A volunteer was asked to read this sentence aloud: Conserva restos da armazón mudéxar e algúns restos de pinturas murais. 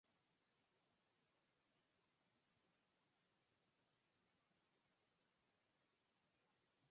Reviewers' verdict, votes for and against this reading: rejected, 0, 4